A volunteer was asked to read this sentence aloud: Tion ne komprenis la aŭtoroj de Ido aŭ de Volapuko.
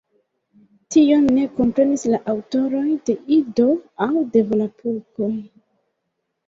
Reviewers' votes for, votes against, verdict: 2, 0, accepted